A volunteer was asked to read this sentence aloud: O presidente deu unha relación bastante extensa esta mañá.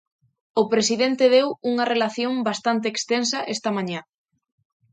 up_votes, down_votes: 2, 0